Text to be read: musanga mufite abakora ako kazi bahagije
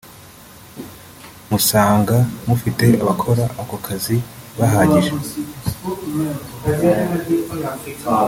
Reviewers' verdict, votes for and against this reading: rejected, 1, 2